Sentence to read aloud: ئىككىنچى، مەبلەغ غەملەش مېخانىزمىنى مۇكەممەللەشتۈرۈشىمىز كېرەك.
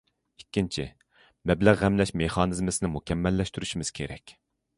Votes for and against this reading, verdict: 0, 2, rejected